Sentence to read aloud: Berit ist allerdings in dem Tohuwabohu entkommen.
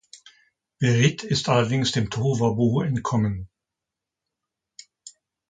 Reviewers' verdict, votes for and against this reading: rejected, 0, 2